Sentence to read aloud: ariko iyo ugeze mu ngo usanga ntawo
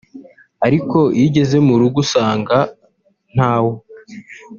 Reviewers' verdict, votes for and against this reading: rejected, 0, 3